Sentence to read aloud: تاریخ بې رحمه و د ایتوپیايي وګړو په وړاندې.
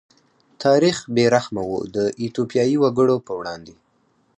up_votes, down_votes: 4, 0